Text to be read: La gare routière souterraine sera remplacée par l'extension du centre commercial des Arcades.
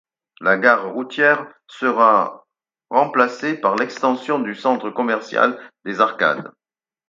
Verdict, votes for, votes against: rejected, 2, 4